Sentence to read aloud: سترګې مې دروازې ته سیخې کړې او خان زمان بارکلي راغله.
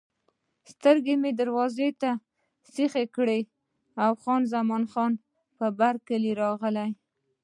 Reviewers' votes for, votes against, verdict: 0, 2, rejected